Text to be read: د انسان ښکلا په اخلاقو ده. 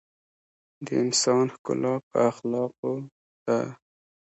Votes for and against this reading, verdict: 1, 2, rejected